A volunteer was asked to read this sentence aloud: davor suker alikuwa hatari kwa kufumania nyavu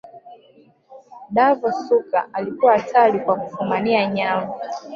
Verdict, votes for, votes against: rejected, 1, 2